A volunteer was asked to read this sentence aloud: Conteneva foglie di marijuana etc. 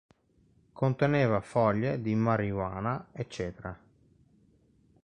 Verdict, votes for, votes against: accepted, 2, 1